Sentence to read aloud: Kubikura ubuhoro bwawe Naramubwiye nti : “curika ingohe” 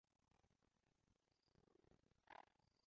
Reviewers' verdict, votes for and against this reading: rejected, 0, 2